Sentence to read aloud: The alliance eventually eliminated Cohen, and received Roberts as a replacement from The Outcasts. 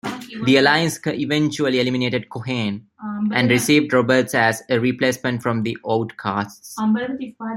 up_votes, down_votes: 0, 2